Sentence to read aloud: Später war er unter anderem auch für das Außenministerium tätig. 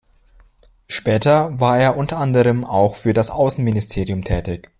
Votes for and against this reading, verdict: 2, 1, accepted